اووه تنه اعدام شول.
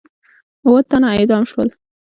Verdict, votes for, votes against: accepted, 2, 0